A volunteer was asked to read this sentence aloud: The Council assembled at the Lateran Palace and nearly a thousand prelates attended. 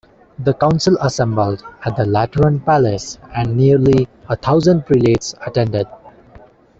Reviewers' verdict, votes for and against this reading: rejected, 1, 2